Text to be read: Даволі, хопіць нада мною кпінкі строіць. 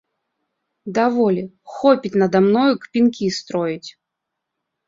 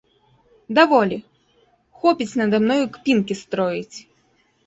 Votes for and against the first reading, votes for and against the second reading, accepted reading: 1, 2, 2, 0, second